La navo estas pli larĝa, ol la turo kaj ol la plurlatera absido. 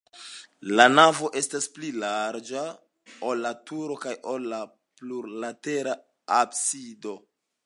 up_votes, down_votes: 2, 1